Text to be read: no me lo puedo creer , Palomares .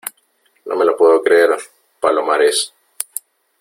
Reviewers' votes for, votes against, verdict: 3, 0, accepted